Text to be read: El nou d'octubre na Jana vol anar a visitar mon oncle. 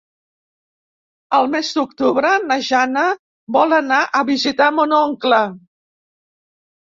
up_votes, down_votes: 0, 2